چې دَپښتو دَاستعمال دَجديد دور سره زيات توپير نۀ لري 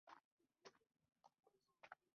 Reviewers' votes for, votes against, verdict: 1, 2, rejected